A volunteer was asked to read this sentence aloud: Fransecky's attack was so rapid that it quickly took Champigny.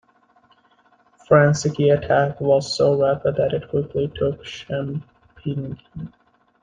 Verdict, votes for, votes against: rejected, 0, 2